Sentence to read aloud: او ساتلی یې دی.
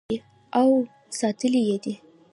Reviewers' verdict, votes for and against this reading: rejected, 0, 2